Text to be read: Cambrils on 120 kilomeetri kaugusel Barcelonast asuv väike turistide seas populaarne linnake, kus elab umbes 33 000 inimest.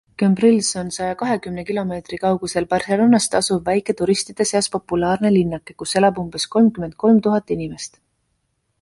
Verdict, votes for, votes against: rejected, 0, 2